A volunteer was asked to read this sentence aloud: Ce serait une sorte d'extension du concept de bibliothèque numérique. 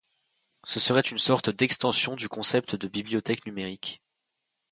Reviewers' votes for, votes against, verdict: 2, 0, accepted